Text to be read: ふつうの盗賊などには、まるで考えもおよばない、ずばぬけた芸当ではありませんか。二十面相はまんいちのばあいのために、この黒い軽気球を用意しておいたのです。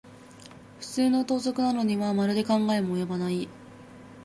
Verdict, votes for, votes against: rejected, 0, 2